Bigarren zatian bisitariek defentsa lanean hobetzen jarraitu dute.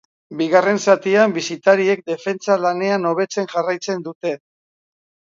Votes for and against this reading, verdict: 0, 4, rejected